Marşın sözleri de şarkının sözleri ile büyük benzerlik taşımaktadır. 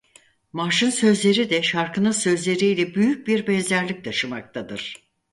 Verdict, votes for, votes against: rejected, 0, 4